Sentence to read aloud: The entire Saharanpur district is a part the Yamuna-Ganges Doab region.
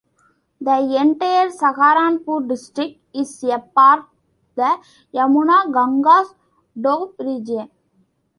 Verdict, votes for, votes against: rejected, 1, 2